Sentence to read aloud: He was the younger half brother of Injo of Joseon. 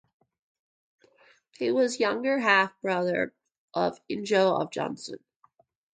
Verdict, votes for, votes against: rejected, 0, 2